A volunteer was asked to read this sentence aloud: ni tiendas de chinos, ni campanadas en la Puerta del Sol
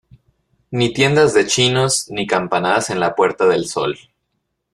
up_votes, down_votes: 2, 0